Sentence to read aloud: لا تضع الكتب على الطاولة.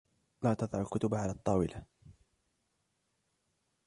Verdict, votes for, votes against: accepted, 2, 1